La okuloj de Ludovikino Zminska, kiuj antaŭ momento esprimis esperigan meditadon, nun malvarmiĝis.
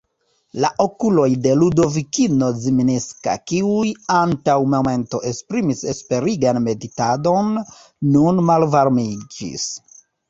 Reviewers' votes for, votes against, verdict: 2, 0, accepted